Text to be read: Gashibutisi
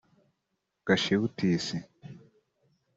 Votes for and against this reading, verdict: 3, 0, accepted